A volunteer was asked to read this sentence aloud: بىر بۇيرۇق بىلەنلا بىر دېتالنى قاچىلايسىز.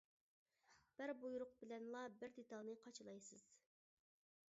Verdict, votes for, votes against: accepted, 2, 0